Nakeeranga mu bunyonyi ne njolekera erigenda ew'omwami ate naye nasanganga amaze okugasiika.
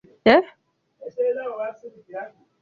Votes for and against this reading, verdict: 0, 2, rejected